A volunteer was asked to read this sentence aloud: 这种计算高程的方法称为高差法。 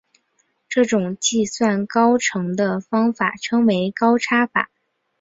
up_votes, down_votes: 2, 1